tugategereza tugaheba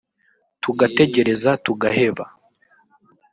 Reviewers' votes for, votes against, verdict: 0, 2, rejected